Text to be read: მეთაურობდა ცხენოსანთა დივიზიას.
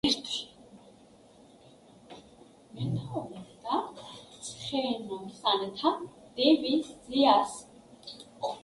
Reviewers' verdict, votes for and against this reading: rejected, 1, 2